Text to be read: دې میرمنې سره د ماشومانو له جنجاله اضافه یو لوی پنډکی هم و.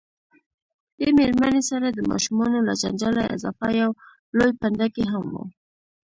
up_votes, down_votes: 0, 2